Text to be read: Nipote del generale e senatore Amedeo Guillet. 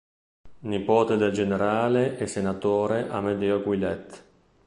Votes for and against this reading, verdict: 2, 0, accepted